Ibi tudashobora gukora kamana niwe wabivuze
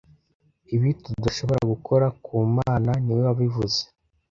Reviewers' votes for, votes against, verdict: 0, 2, rejected